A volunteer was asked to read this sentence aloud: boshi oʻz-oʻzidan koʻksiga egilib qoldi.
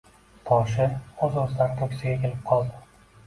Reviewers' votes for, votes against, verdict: 2, 1, accepted